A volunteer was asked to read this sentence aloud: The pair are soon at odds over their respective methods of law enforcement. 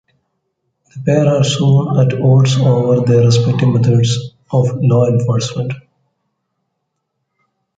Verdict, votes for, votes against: rejected, 0, 2